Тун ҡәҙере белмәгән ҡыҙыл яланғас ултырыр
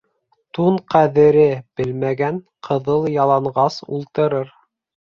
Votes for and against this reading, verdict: 2, 0, accepted